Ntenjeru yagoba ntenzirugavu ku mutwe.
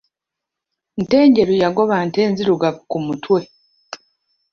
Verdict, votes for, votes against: accepted, 2, 0